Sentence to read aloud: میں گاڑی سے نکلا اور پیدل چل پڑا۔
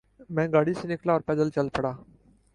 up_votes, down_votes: 3, 0